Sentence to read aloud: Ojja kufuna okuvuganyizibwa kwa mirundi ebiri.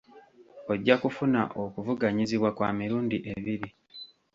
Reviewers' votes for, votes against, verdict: 1, 2, rejected